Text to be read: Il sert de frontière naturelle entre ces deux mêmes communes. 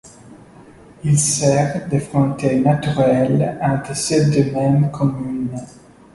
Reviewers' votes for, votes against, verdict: 2, 0, accepted